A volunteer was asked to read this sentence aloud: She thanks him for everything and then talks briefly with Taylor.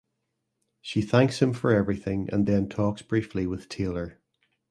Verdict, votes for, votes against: accepted, 2, 0